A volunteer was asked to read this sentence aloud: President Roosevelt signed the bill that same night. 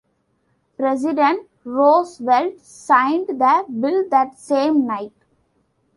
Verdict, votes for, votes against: accepted, 2, 1